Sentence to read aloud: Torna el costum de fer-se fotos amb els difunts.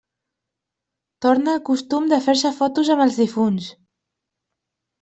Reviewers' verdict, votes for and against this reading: accepted, 2, 0